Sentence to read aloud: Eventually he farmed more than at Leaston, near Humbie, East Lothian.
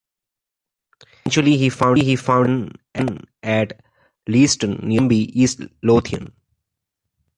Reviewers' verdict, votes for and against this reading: rejected, 0, 2